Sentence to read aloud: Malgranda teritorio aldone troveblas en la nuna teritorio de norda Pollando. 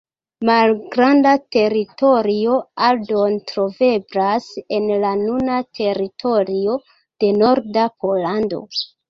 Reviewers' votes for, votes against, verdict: 1, 2, rejected